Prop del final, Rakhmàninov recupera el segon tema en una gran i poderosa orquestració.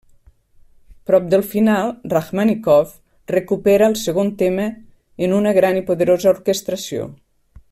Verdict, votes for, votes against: rejected, 0, 2